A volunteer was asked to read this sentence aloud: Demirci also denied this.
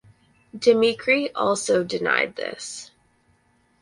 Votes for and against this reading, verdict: 0, 4, rejected